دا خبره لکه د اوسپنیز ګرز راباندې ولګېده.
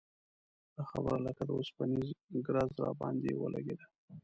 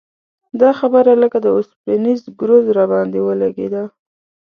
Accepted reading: second